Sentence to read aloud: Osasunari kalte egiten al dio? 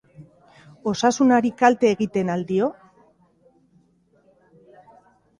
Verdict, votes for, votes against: rejected, 1, 2